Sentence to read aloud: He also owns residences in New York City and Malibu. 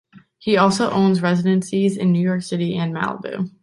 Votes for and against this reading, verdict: 2, 3, rejected